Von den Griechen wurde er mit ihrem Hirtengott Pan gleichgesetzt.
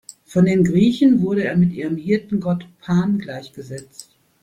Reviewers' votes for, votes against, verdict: 2, 0, accepted